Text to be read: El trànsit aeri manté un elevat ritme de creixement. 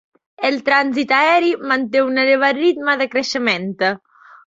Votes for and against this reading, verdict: 0, 2, rejected